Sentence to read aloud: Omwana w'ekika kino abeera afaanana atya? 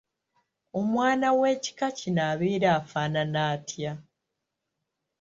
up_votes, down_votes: 2, 1